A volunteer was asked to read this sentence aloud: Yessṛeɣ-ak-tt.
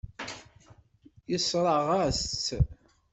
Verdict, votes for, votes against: rejected, 1, 2